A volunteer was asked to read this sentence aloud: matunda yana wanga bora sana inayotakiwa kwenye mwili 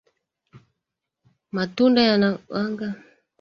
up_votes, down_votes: 0, 2